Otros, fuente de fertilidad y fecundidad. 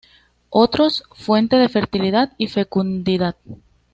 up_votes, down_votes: 2, 0